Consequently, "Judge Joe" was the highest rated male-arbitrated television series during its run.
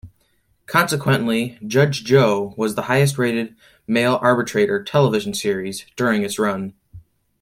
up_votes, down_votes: 0, 2